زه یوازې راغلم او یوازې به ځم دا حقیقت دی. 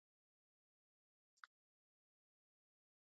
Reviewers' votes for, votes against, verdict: 1, 2, rejected